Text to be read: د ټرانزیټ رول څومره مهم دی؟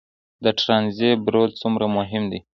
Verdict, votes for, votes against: accepted, 2, 0